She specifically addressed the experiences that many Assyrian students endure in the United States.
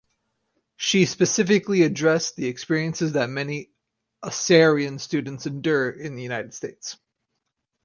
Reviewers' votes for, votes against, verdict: 2, 2, rejected